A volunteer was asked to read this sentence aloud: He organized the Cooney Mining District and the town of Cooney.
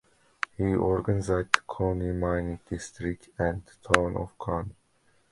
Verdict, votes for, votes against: rejected, 0, 2